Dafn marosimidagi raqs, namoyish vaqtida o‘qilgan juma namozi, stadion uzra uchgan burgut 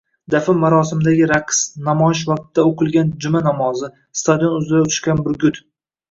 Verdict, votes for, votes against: accepted, 2, 0